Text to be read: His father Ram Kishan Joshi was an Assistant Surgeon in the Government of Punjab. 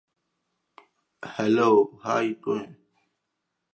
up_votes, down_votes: 0, 2